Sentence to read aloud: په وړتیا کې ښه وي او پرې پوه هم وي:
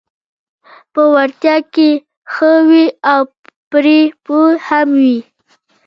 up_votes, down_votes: 0, 2